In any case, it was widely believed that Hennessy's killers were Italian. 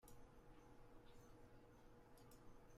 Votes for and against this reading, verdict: 0, 2, rejected